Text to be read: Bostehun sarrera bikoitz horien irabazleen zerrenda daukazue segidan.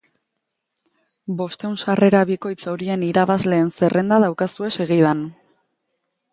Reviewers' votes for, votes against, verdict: 3, 0, accepted